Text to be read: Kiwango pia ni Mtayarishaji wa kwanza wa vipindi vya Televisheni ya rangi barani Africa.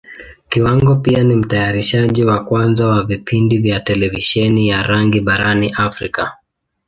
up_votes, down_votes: 2, 1